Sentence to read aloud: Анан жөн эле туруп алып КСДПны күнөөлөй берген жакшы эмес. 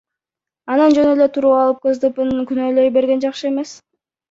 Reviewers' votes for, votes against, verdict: 0, 2, rejected